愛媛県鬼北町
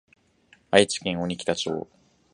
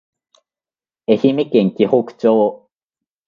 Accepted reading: second